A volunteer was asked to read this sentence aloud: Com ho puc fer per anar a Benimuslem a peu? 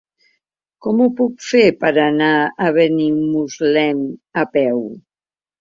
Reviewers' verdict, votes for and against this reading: accepted, 2, 0